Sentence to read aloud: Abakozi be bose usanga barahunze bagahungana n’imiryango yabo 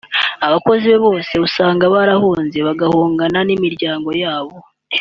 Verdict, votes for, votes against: accepted, 2, 0